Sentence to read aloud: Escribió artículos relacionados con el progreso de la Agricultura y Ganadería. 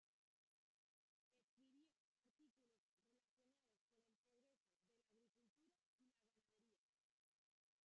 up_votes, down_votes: 0, 2